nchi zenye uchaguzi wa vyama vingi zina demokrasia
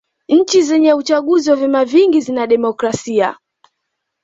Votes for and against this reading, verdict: 2, 0, accepted